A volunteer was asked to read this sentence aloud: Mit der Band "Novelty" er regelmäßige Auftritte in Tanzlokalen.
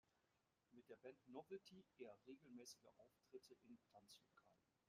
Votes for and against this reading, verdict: 0, 2, rejected